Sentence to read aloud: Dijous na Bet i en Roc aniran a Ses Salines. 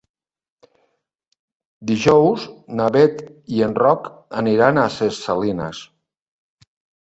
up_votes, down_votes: 2, 0